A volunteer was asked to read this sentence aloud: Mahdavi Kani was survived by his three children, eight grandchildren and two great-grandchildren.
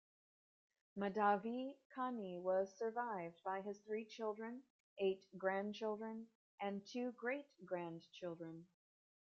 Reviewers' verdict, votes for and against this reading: accepted, 2, 0